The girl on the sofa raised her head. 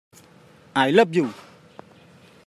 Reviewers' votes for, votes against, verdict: 0, 2, rejected